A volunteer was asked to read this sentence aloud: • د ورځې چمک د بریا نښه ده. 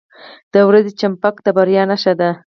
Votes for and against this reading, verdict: 0, 4, rejected